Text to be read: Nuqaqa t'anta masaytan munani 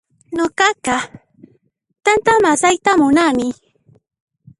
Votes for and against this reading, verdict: 0, 2, rejected